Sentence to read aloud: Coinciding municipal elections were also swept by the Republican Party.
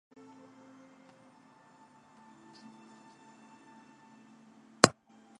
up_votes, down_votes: 0, 2